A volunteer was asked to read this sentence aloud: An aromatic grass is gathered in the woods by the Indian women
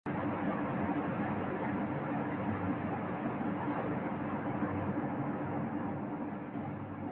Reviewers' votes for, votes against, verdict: 0, 2, rejected